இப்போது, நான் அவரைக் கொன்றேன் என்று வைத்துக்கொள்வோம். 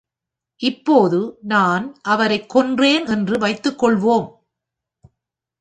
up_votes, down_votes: 2, 0